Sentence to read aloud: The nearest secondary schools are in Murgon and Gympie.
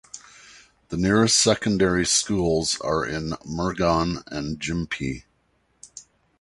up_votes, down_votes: 2, 0